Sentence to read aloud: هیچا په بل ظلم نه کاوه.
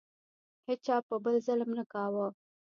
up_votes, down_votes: 1, 2